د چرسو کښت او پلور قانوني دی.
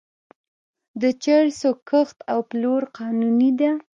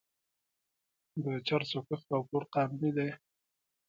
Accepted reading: second